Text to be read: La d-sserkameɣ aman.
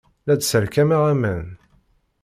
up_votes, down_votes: 2, 0